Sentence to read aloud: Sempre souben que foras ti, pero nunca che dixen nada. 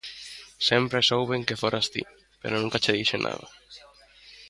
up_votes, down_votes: 2, 0